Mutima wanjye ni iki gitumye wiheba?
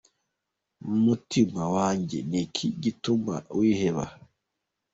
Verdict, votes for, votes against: accepted, 2, 0